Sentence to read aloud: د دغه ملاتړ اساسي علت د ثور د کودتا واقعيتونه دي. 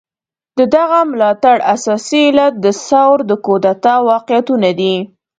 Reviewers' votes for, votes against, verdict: 3, 0, accepted